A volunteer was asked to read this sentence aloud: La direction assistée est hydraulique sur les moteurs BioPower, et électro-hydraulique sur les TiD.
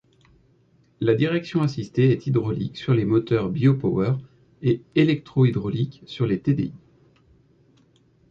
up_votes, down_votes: 1, 2